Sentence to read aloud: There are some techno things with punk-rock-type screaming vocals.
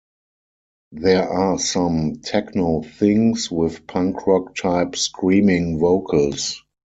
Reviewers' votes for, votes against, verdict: 4, 0, accepted